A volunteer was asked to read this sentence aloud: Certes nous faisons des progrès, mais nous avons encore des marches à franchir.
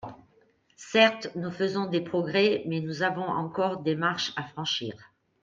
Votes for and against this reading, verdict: 1, 2, rejected